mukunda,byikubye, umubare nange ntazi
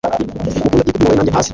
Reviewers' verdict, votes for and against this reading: rejected, 1, 2